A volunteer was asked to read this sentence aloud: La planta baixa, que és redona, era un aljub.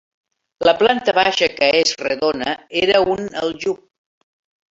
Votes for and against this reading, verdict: 2, 0, accepted